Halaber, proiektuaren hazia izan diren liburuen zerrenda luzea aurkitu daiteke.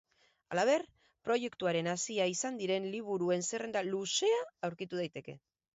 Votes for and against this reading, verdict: 4, 0, accepted